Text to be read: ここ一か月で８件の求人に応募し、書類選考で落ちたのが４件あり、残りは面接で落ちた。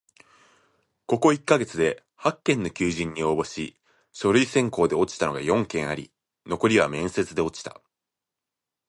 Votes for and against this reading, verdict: 0, 2, rejected